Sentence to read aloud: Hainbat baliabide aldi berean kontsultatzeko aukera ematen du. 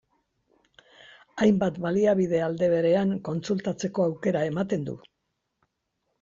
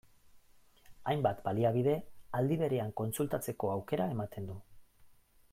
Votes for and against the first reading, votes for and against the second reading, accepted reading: 0, 2, 2, 0, second